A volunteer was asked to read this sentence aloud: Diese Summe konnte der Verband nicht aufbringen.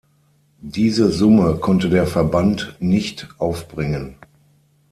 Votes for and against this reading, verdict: 6, 0, accepted